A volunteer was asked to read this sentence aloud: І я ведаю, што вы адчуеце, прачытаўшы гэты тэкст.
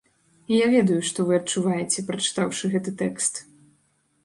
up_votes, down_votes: 1, 2